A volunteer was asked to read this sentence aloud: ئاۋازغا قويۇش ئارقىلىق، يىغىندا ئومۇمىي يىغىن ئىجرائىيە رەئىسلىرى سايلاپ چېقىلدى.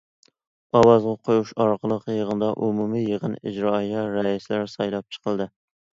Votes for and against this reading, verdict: 2, 0, accepted